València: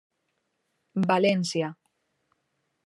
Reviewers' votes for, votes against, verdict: 3, 0, accepted